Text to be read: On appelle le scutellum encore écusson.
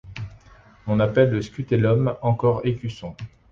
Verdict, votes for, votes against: accepted, 2, 0